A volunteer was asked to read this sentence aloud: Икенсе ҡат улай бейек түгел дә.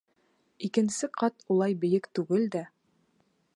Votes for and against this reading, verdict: 2, 0, accepted